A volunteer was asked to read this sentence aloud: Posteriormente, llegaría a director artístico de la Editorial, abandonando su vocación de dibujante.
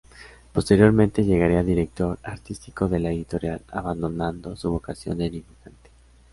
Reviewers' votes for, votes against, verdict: 0, 2, rejected